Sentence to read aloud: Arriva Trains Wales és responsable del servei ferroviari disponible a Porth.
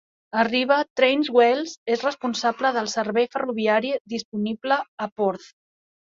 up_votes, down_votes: 2, 0